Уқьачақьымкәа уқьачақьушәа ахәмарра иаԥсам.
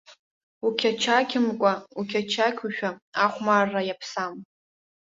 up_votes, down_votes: 2, 0